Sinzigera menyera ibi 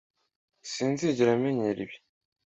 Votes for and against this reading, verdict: 2, 0, accepted